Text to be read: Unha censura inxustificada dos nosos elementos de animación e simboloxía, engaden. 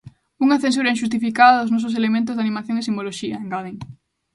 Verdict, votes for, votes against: accepted, 2, 0